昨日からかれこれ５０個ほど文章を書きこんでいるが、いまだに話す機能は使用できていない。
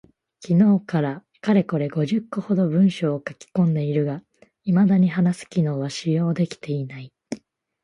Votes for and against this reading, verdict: 0, 2, rejected